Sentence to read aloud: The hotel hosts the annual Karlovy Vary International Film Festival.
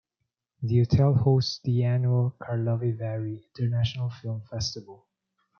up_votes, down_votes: 0, 2